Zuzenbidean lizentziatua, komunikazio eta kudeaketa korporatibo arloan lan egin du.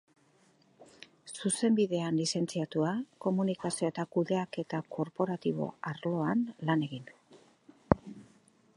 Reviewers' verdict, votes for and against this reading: accepted, 4, 0